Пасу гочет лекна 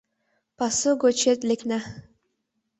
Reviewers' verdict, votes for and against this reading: accepted, 2, 0